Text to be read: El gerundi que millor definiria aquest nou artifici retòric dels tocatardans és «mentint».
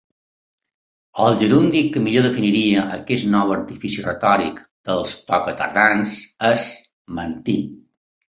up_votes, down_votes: 2, 0